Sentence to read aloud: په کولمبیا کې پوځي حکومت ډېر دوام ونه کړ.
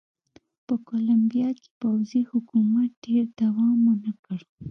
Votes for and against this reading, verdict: 2, 0, accepted